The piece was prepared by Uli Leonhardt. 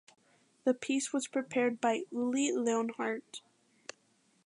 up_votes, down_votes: 2, 1